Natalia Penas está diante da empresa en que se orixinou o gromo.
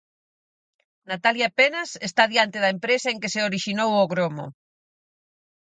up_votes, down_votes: 4, 0